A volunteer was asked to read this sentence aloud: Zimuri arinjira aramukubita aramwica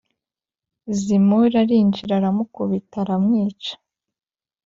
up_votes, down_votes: 5, 0